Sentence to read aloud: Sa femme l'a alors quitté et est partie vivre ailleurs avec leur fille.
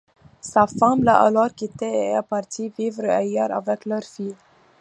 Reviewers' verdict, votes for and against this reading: accepted, 2, 0